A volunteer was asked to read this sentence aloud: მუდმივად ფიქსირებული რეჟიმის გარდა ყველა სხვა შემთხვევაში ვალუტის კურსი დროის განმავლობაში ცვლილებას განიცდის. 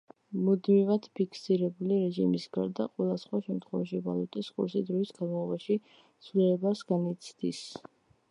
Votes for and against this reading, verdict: 1, 2, rejected